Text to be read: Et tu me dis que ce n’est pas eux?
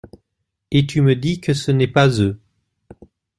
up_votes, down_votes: 2, 0